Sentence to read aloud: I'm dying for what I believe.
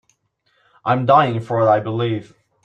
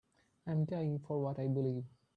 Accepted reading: second